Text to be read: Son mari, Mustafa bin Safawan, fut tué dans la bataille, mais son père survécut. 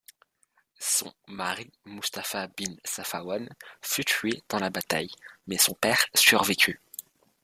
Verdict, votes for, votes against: accepted, 2, 0